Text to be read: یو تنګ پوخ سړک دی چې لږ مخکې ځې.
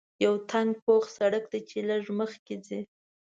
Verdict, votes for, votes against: accepted, 2, 0